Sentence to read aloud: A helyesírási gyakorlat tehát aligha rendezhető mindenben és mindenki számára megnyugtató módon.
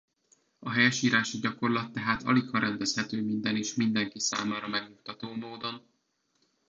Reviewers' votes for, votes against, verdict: 1, 2, rejected